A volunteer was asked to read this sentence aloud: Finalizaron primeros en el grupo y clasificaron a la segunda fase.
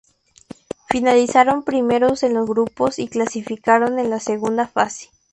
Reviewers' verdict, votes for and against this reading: rejected, 0, 2